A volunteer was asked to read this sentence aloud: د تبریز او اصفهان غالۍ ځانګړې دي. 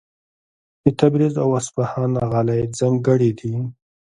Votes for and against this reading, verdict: 1, 2, rejected